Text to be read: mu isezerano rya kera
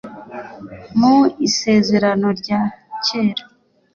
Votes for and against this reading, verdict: 2, 0, accepted